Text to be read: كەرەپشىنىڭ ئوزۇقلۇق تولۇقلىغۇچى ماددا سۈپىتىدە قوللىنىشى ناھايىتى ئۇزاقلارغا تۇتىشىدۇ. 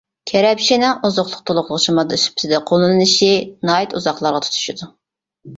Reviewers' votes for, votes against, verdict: 0, 2, rejected